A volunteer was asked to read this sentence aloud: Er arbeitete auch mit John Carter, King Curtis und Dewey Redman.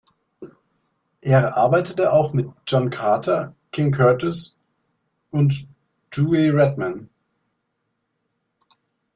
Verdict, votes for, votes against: rejected, 1, 2